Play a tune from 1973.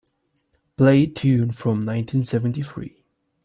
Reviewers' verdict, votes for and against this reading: rejected, 0, 2